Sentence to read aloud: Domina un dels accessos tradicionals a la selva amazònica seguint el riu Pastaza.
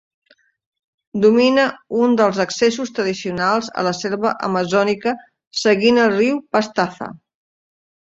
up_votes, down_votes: 2, 0